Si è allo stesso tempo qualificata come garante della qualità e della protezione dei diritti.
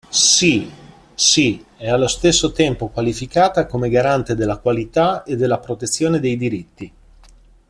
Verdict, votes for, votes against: rejected, 0, 2